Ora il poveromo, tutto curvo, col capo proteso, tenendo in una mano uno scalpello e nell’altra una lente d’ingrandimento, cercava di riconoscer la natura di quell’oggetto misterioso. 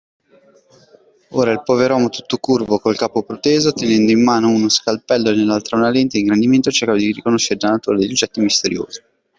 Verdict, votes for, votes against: rejected, 1, 2